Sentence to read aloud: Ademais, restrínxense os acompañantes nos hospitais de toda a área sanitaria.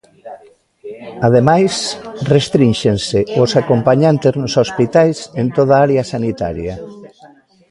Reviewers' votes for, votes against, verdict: 0, 2, rejected